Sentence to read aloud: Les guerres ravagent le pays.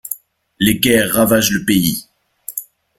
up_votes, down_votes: 2, 0